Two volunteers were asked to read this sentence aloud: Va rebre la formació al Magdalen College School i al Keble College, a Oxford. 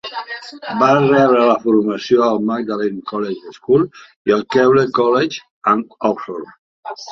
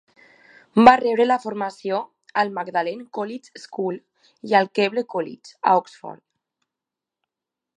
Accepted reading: second